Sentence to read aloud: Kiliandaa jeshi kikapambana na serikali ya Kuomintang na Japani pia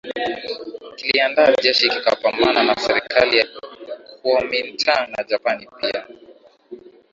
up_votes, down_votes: 0, 2